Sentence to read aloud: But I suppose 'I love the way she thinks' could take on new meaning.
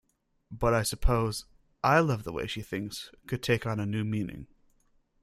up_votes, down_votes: 1, 2